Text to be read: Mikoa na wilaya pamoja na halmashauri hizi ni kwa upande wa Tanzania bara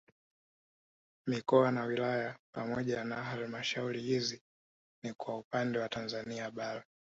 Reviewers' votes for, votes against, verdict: 2, 0, accepted